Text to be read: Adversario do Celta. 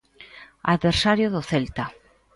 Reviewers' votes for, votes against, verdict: 2, 0, accepted